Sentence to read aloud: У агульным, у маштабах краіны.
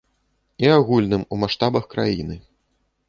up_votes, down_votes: 0, 2